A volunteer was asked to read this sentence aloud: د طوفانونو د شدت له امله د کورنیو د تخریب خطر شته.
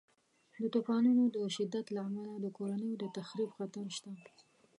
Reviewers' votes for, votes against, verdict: 2, 0, accepted